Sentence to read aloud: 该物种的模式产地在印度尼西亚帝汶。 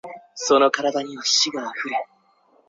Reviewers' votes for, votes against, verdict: 0, 4, rejected